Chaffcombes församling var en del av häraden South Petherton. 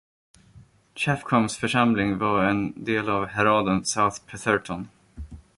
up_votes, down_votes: 1, 2